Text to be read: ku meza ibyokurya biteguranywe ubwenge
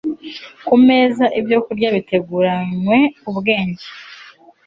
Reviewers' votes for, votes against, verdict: 2, 0, accepted